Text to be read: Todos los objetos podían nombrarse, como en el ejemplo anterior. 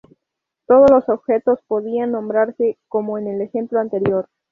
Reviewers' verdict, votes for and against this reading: rejected, 2, 2